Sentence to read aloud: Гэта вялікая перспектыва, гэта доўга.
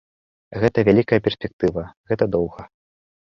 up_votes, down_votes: 2, 0